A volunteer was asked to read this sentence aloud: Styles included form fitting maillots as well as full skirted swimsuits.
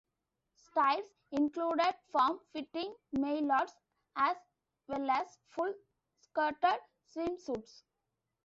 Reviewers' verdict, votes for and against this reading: accepted, 2, 1